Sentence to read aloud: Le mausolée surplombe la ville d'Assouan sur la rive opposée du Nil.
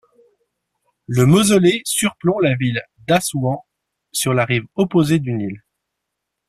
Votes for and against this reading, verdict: 2, 1, accepted